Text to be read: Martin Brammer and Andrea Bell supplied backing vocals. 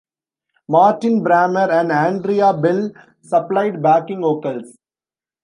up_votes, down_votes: 2, 0